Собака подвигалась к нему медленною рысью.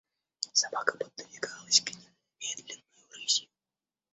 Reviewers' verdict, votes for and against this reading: rejected, 1, 2